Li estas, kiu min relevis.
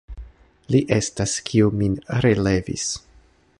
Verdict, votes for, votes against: accepted, 2, 0